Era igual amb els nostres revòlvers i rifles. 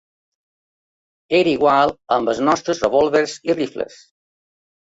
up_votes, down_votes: 2, 0